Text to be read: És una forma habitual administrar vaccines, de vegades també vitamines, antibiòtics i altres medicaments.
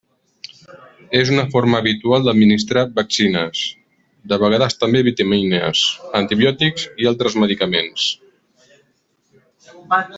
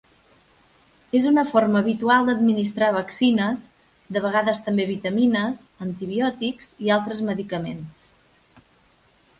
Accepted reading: second